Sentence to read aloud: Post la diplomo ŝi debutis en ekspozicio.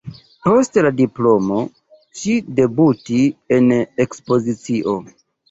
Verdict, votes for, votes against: rejected, 1, 2